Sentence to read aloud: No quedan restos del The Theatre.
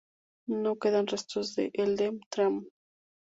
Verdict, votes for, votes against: rejected, 0, 2